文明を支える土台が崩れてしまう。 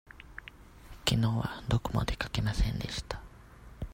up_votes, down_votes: 0, 2